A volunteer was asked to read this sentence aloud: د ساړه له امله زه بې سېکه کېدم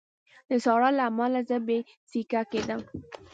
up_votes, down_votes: 2, 0